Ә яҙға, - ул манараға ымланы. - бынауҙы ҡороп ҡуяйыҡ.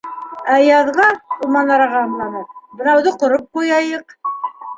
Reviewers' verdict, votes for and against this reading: accepted, 2, 0